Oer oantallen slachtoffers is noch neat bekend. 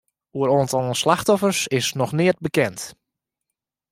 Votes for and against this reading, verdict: 1, 2, rejected